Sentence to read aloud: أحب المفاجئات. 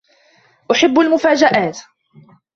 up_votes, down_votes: 2, 1